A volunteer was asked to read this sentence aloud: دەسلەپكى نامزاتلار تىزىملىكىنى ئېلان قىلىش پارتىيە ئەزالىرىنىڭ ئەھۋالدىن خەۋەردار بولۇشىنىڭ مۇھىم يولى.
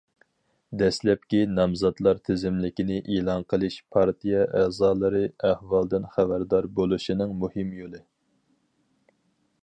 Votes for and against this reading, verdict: 0, 4, rejected